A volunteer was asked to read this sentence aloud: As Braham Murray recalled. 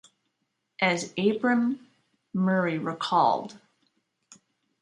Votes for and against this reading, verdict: 0, 2, rejected